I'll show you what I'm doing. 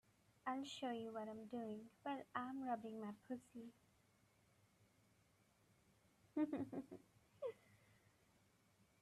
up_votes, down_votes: 0, 2